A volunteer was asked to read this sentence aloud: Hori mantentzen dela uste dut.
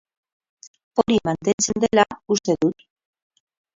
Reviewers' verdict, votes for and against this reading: rejected, 0, 4